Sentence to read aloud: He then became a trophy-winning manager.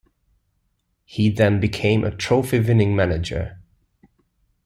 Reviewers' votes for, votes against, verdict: 2, 0, accepted